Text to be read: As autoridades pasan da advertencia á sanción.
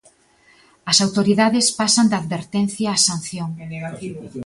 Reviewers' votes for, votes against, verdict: 1, 2, rejected